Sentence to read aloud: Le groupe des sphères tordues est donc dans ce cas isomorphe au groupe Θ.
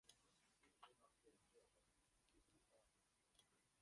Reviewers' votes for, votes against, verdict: 0, 2, rejected